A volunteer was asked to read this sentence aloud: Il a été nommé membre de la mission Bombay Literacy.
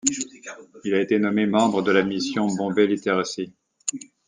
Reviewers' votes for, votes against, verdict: 2, 1, accepted